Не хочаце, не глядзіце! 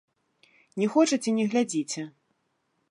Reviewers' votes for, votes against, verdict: 2, 0, accepted